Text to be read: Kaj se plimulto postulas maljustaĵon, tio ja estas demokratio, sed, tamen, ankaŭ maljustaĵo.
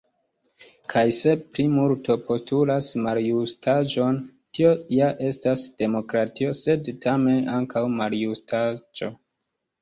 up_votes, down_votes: 1, 2